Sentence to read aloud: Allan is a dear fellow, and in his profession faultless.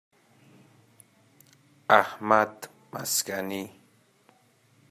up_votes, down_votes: 0, 2